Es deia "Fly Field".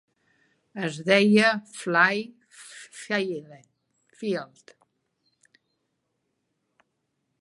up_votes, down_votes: 1, 4